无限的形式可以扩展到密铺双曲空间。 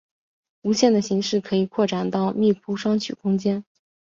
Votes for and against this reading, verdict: 2, 0, accepted